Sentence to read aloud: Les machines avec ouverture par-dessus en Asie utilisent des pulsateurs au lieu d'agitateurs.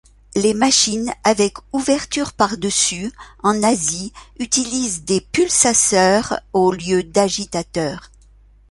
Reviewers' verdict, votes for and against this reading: rejected, 1, 2